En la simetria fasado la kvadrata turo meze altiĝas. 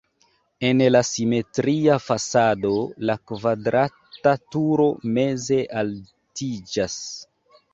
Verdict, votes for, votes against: accepted, 3, 0